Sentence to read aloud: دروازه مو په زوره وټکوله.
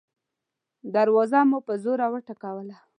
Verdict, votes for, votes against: accepted, 2, 0